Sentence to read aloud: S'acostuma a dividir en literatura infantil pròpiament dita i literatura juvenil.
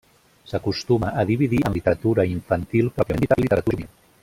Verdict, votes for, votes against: rejected, 0, 2